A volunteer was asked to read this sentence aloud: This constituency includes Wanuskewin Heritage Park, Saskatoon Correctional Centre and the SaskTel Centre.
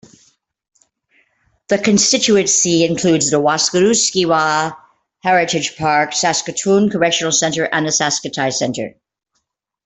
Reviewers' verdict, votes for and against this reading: rejected, 1, 2